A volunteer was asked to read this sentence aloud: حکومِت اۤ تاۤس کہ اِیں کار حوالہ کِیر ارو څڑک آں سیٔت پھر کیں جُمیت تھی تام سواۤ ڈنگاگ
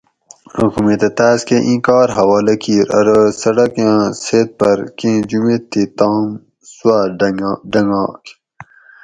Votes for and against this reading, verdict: 2, 4, rejected